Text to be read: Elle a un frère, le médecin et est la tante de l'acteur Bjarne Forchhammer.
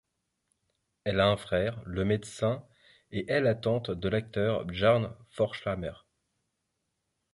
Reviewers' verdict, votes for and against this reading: rejected, 1, 2